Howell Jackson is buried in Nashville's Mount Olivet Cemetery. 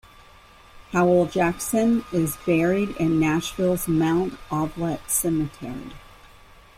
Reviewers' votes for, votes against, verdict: 1, 2, rejected